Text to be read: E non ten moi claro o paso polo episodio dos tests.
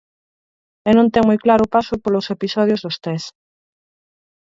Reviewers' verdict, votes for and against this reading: rejected, 0, 4